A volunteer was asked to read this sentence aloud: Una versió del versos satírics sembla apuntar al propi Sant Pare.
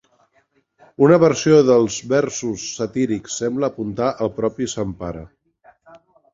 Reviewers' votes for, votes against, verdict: 2, 1, accepted